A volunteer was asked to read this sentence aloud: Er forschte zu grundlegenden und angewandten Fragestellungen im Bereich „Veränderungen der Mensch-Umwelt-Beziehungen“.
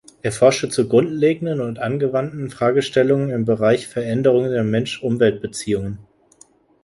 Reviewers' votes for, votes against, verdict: 2, 0, accepted